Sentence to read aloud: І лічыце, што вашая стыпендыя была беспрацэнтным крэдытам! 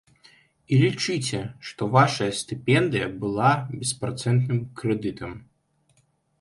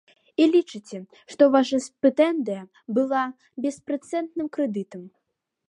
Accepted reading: first